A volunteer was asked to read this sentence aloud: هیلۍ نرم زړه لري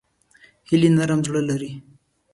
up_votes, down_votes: 0, 2